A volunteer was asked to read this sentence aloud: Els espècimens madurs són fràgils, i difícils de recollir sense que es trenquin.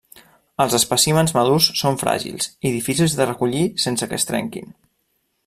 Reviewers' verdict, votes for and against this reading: rejected, 1, 2